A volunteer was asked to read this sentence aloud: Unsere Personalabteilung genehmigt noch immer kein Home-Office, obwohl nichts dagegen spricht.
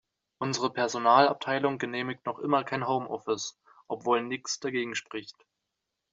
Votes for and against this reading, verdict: 2, 0, accepted